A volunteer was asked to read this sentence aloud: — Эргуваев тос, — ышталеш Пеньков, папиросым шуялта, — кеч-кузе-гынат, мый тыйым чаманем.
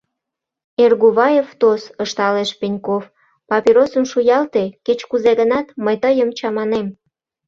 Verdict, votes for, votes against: rejected, 0, 2